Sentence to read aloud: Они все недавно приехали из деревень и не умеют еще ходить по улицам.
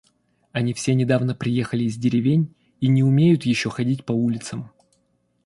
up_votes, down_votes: 2, 0